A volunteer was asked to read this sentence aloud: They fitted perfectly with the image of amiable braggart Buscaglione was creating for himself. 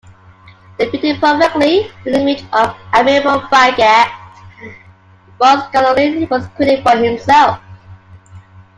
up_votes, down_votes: 1, 2